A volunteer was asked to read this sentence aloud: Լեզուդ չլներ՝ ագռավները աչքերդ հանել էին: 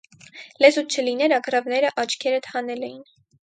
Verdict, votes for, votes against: rejected, 2, 4